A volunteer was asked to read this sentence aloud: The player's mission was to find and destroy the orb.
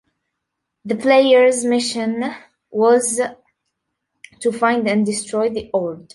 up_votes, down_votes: 2, 0